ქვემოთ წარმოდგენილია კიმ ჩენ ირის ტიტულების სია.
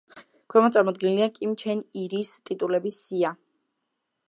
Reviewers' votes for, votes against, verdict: 2, 0, accepted